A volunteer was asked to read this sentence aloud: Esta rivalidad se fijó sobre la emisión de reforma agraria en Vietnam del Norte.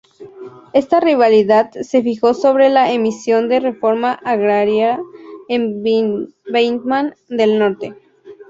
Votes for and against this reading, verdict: 0, 4, rejected